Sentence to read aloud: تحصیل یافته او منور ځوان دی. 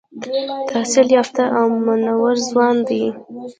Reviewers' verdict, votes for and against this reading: rejected, 0, 2